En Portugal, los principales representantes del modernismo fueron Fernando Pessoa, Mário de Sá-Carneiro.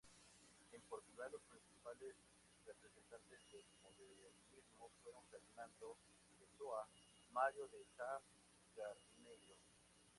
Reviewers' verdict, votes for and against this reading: rejected, 0, 4